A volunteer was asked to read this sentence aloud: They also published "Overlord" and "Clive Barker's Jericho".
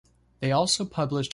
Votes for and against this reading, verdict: 0, 2, rejected